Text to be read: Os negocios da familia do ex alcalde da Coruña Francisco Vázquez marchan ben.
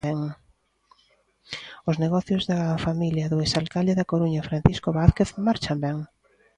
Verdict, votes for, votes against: rejected, 0, 2